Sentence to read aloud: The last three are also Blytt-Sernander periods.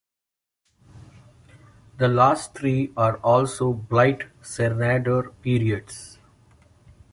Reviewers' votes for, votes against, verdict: 2, 0, accepted